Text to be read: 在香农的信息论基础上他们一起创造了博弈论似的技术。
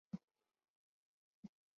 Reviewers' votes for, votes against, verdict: 0, 3, rejected